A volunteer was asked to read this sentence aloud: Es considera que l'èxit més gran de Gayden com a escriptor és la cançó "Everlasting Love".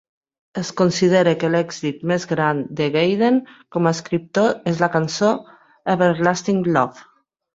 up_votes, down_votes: 3, 0